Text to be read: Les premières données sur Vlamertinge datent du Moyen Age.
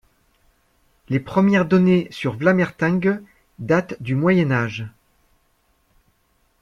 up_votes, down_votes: 1, 2